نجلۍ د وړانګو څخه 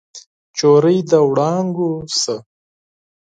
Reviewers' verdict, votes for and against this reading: rejected, 0, 4